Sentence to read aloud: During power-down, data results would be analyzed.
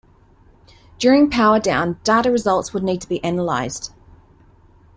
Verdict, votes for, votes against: rejected, 0, 2